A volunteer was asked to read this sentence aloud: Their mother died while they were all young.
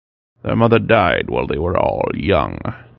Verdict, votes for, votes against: accepted, 2, 0